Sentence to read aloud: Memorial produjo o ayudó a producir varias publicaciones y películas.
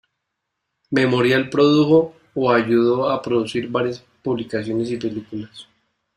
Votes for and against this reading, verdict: 2, 0, accepted